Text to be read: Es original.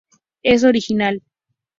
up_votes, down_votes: 2, 0